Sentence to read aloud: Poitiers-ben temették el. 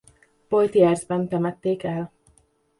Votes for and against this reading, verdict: 0, 2, rejected